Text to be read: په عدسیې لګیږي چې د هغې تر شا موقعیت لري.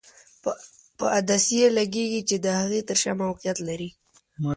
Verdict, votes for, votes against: accepted, 2, 0